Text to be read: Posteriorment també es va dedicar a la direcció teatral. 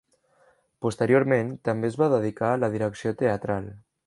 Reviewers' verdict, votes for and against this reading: accepted, 3, 0